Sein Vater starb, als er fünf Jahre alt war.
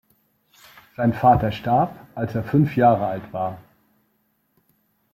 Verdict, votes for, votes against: accepted, 2, 0